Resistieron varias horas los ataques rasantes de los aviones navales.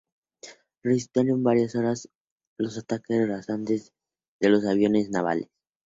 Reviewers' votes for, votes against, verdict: 2, 0, accepted